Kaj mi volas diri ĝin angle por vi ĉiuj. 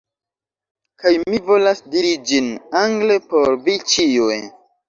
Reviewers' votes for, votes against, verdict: 0, 2, rejected